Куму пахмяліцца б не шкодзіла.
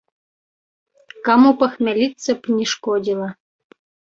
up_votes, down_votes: 1, 2